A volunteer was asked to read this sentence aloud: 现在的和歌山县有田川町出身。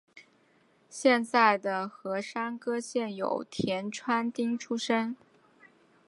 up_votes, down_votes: 1, 2